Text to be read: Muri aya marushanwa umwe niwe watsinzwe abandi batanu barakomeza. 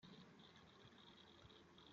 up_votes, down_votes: 0, 2